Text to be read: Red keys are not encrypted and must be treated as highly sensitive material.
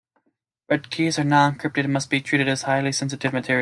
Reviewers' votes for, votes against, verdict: 2, 0, accepted